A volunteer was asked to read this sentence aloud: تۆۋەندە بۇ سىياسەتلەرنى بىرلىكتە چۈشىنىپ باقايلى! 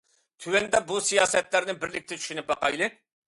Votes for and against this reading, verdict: 2, 0, accepted